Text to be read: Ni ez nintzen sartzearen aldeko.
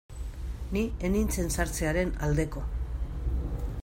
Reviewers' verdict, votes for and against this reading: rejected, 0, 2